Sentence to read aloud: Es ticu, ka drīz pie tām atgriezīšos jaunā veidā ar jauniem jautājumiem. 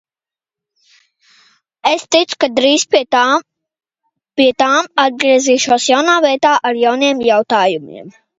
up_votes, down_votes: 0, 2